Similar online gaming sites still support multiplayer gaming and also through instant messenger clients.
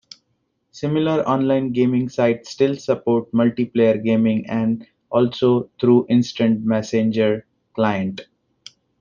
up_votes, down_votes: 1, 2